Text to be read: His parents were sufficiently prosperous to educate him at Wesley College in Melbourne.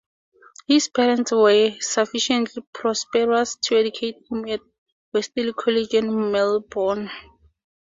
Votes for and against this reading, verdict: 2, 0, accepted